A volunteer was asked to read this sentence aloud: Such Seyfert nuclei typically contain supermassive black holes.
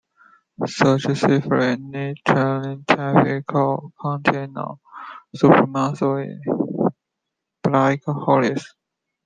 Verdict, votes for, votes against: rejected, 0, 2